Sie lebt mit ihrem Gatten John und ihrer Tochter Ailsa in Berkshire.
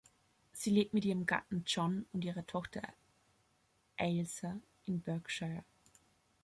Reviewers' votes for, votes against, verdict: 1, 2, rejected